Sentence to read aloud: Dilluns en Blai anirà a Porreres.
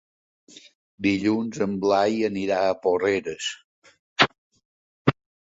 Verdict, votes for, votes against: rejected, 1, 2